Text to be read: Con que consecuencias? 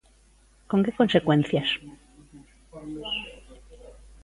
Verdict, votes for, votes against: accepted, 2, 0